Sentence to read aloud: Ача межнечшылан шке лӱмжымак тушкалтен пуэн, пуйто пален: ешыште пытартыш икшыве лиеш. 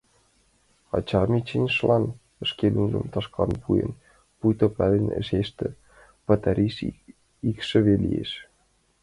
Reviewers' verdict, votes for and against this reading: rejected, 0, 2